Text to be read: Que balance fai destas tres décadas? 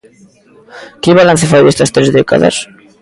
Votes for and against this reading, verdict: 2, 0, accepted